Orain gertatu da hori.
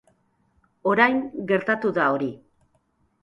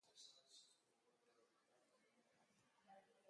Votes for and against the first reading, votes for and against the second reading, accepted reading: 3, 0, 0, 2, first